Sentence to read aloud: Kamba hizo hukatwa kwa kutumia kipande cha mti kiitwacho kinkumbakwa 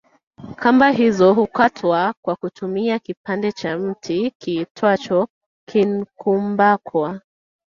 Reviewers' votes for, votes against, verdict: 1, 2, rejected